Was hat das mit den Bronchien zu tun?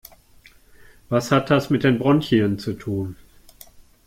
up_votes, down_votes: 2, 0